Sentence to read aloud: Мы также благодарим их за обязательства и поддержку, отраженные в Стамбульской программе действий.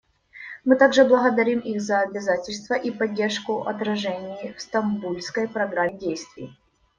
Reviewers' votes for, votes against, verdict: 0, 2, rejected